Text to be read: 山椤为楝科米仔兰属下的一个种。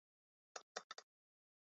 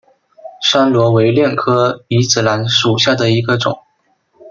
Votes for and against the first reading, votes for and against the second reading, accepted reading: 1, 2, 2, 0, second